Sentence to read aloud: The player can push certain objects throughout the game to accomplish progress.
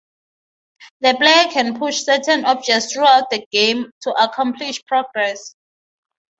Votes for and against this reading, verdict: 3, 3, rejected